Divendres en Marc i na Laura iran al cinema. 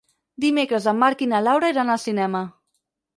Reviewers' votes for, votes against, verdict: 2, 4, rejected